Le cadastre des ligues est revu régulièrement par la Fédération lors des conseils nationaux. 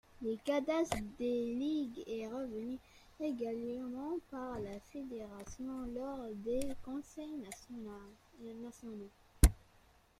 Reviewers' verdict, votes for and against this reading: rejected, 0, 2